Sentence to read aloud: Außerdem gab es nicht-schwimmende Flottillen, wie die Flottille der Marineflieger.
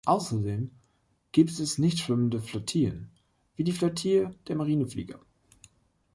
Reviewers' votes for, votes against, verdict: 0, 2, rejected